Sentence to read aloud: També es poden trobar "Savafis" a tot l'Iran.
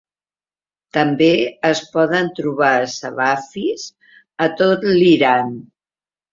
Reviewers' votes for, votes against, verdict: 2, 0, accepted